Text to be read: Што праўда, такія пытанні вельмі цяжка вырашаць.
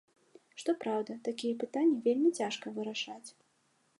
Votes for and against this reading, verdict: 2, 0, accepted